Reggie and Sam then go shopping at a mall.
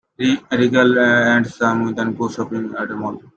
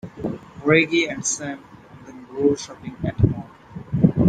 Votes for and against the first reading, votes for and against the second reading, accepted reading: 0, 2, 2, 1, second